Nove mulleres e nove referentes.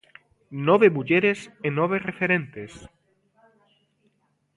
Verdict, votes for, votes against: accepted, 2, 0